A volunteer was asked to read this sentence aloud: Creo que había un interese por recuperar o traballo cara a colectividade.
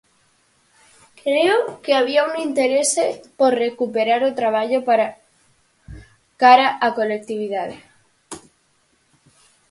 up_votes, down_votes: 0, 4